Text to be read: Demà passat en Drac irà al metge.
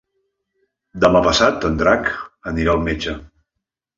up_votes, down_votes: 0, 2